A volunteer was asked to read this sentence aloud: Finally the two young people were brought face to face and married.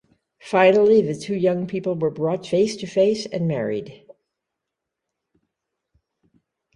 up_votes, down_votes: 2, 0